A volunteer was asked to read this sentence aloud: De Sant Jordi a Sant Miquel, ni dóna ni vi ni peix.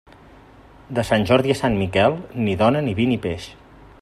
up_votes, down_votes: 1, 2